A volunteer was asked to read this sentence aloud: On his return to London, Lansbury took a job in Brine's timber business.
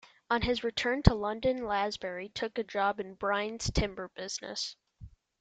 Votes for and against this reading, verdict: 2, 0, accepted